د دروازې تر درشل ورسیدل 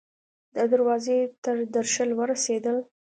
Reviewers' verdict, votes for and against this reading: accepted, 2, 0